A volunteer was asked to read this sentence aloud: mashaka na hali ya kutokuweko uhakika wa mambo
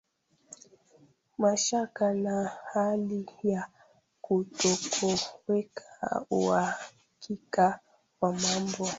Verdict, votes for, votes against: rejected, 0, 2